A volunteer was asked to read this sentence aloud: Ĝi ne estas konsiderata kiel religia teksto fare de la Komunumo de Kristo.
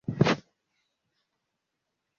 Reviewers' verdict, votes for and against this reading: rejected, 1, 2